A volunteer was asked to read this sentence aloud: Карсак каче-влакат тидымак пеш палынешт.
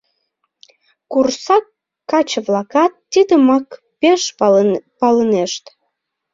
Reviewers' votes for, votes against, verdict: 0, 2, rejected